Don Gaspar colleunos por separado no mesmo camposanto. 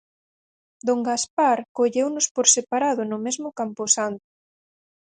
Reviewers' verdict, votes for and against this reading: rejected, 0, 4